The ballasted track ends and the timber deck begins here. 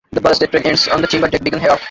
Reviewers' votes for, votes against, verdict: 0, 2, rejected